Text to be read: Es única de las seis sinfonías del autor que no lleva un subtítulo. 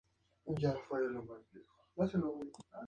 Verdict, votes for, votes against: rejected, 0, 2